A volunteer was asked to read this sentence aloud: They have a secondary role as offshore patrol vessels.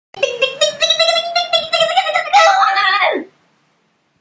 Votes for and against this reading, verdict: 0, 2, rejected